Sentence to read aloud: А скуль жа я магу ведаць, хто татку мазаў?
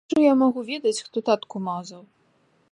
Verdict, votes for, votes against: rejected, 0, 2